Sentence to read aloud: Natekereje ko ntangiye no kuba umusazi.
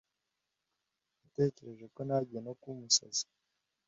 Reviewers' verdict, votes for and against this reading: accepted, 2, 0